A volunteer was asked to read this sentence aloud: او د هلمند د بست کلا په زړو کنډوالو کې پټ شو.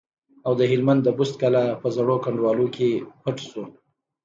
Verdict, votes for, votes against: accepted, 2, 1